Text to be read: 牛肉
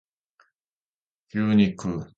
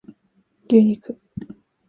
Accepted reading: first